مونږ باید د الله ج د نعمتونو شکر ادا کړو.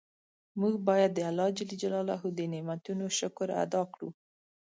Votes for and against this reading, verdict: 2, 0, accepted